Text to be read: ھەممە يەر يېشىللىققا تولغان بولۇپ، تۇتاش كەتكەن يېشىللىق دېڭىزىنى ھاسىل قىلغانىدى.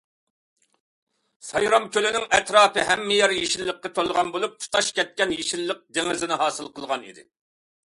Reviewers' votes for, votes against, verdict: 0, 2, rejected